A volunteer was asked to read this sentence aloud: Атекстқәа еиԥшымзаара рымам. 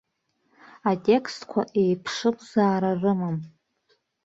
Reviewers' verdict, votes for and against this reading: accepted, 2, 1